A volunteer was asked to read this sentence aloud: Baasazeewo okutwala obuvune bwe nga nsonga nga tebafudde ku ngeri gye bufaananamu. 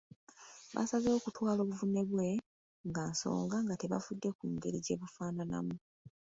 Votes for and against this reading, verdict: 2, 0, accepted